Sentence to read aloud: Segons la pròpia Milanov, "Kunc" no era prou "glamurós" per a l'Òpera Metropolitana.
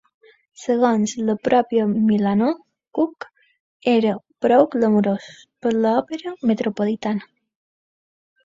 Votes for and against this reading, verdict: 2, 1, accepted